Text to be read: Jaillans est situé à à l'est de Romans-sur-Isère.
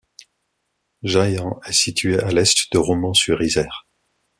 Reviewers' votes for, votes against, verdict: 1, 2, rejected